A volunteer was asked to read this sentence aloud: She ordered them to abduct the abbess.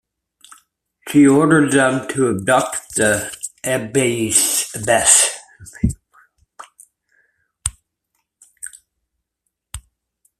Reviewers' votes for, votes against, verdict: 1, 2, rejected